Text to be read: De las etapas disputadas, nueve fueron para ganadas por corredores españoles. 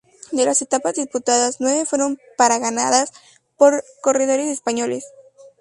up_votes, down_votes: 2, 0